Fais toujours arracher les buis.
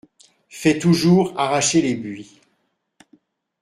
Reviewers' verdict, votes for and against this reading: accepted, 2, 0